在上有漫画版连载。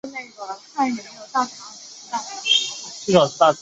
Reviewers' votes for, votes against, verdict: 1, 2, rejected